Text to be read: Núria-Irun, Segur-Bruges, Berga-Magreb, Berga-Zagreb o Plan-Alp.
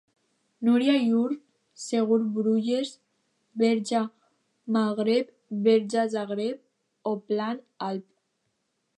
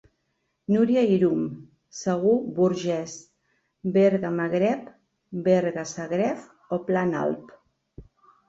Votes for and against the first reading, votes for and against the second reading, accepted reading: 2, 0, 1, 2, first